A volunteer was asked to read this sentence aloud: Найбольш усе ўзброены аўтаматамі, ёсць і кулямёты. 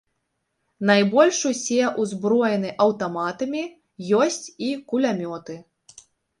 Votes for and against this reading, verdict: 3, 0, accepted